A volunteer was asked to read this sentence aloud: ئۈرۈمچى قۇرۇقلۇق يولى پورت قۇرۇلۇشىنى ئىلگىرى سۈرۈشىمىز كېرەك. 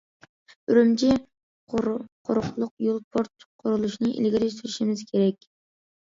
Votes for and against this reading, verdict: 0, 2, rejected